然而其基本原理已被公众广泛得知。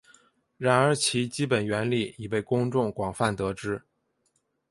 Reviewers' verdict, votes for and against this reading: accepted, 3, 0